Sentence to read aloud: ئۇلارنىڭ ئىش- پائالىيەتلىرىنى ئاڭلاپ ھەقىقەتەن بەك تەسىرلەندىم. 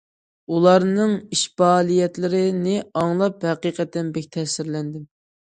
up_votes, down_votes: 2, 0